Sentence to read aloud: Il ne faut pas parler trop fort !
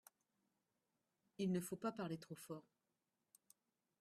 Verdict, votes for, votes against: rejected, 1, 2